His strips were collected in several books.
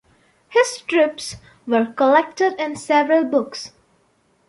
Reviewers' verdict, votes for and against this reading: accepted, 2, 0